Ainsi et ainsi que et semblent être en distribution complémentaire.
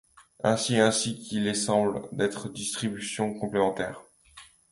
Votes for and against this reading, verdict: 1, 2, rejected